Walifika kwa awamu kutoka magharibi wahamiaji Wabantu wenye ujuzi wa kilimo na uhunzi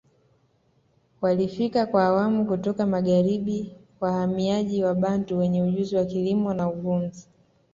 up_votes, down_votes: 2, 0